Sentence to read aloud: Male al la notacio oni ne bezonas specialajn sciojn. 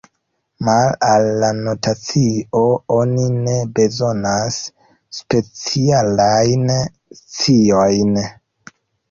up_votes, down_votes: 2, 1